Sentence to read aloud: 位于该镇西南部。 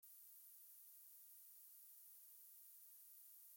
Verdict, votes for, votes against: rejected, 0, 2